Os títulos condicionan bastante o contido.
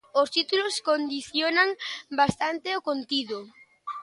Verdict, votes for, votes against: accepted, 2, 0